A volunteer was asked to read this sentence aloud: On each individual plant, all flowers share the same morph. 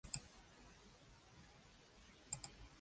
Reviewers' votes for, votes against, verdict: 0, 2, rejected